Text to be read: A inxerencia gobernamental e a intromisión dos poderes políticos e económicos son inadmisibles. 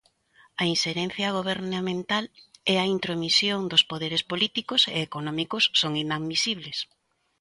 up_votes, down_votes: 2, 0